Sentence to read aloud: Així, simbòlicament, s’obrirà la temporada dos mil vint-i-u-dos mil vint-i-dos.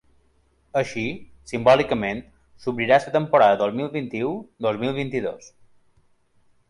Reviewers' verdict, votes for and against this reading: accepted, 3, 2